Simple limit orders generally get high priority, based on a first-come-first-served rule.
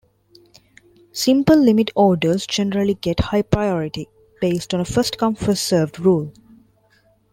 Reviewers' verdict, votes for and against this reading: accepted, 2, 0